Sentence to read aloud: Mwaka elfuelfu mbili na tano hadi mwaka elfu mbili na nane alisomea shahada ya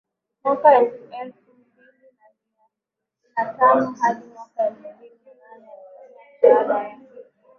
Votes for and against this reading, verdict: 0, 5, rejected